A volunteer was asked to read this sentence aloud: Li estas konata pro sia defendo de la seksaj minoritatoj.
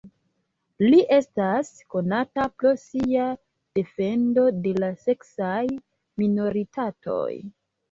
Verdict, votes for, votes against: accepted, 2, 1